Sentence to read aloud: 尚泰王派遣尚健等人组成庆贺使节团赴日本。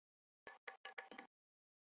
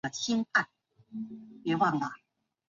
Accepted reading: first